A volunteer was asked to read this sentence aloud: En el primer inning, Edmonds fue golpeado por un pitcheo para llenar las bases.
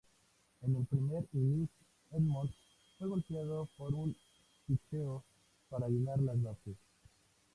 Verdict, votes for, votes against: rejected, 0, 2